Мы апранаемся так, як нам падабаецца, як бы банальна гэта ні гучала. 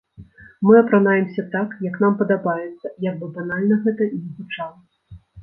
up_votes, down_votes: 1, 2